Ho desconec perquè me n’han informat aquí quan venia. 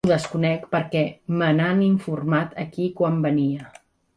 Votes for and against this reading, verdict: 3, 1, accepted